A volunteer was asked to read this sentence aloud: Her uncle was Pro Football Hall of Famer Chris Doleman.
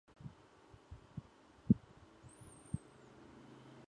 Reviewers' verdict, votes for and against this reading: rejected, 0, 2